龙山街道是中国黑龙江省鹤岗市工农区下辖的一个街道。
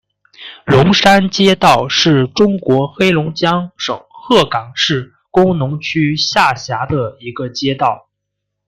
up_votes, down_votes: 2, 1